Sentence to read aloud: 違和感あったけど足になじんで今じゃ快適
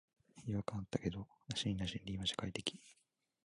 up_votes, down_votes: 0, 2